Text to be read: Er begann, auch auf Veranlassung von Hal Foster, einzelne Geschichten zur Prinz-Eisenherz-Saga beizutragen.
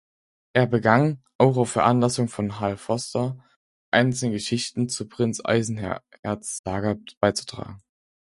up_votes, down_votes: 2, 4